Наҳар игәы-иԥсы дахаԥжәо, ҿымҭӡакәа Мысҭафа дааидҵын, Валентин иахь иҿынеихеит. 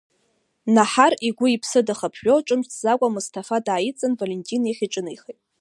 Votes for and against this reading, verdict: 2, 0, accepted